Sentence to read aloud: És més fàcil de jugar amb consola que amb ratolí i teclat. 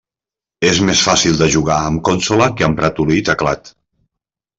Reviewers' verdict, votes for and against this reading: rejected, 0, 2